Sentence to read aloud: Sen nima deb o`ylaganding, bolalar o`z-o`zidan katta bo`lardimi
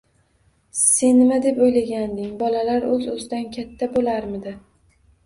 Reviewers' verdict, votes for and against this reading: rejected, 0, 2